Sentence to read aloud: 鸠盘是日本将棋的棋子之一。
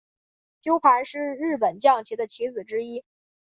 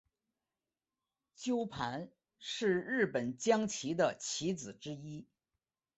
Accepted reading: second